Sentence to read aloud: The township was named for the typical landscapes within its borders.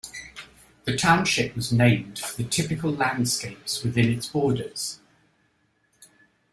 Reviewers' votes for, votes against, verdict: 2, 0, accepted